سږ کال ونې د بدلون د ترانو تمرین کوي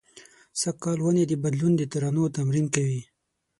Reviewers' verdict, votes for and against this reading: accepted, 6, 0